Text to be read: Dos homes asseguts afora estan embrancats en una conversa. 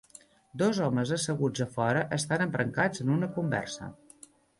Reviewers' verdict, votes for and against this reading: accepted, 2, 0